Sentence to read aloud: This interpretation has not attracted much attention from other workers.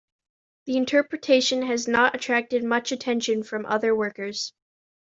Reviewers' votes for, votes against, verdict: 1, 2, rejected